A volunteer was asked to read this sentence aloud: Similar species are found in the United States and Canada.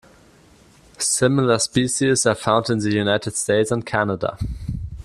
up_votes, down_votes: 4, 0